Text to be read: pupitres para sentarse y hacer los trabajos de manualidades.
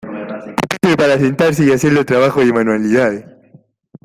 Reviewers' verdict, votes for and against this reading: rejected, 0, 2